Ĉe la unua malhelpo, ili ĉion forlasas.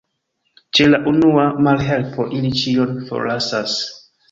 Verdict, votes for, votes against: accepted, 2, 1